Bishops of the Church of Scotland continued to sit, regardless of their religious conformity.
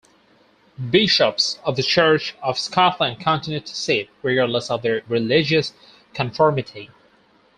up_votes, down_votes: 4, 0